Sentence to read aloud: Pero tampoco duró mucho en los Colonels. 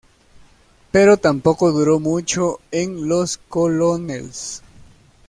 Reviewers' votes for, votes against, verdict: 1, 2, rejected